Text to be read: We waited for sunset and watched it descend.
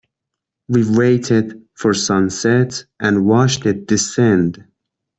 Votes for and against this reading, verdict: 2, 0, accepted